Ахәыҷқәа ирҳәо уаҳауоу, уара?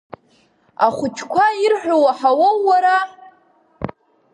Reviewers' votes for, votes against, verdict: 1, 2, rejected